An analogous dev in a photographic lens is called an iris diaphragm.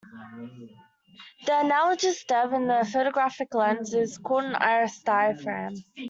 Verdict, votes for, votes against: rejected, 0, 2